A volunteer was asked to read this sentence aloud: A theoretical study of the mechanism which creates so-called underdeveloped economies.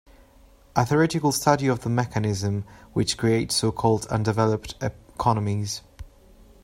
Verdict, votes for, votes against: rejected, 1, 2